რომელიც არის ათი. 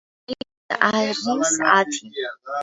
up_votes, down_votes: 0, 2